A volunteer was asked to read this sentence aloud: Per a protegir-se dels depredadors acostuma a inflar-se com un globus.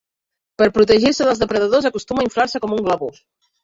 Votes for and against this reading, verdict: 1, 2, rejected